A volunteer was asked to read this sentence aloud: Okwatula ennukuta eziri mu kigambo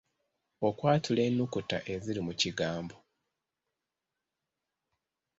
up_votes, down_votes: 3, 0